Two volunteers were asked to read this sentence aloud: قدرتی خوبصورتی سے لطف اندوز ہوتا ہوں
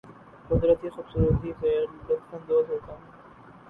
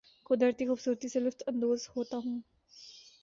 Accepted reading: second